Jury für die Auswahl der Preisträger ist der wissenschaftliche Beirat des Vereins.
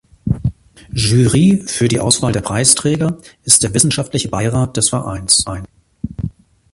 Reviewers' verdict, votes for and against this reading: rejected, 0, 2